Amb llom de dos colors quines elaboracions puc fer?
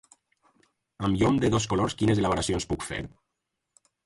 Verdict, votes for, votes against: rejected, 2, 2